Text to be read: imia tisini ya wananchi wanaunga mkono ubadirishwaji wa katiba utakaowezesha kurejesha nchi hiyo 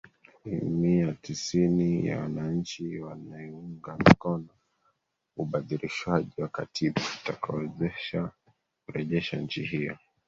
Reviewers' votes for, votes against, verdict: 0, 2, rejected